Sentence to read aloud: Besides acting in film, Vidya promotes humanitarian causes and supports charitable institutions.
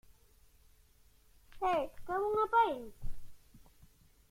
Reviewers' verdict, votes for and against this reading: rejected, 0, 2